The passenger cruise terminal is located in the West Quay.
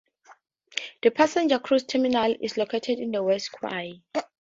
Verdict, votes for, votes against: rejected, 0, 4